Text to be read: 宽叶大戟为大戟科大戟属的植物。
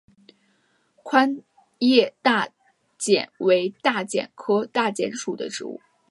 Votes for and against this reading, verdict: 2, 1, accepted